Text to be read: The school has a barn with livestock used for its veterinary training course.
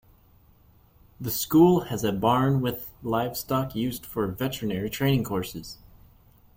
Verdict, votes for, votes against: rejected, 1, 2